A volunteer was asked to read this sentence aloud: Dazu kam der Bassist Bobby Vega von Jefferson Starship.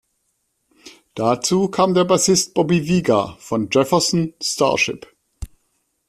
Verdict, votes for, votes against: accepted, 2, 0